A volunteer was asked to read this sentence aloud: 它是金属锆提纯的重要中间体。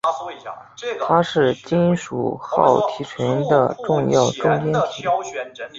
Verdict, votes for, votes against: accepted, 4, 0